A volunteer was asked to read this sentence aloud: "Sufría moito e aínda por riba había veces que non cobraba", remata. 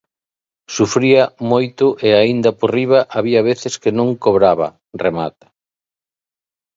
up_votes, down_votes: 2, 0